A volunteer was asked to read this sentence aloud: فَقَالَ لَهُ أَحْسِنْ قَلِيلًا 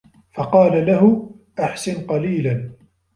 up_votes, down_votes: 2, 0